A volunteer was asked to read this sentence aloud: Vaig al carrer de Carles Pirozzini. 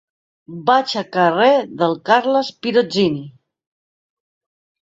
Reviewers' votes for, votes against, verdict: 0, 2, rejected